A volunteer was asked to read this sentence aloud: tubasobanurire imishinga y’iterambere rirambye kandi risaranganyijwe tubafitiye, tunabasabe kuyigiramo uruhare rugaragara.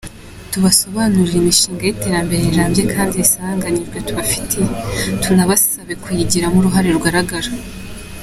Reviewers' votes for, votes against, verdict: 2, 0, accepted